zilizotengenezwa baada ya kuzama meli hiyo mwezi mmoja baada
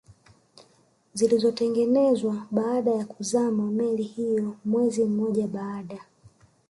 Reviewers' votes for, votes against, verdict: 7, 0, accepted